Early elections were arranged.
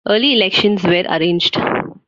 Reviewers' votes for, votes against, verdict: 2, 0, accepted